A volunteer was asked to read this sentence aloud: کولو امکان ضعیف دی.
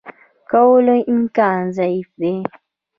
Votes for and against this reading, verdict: 0, 2, rejected